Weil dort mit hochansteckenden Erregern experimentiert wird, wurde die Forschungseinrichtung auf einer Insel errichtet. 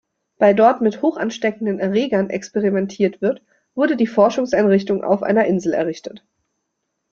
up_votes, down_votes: 0, 2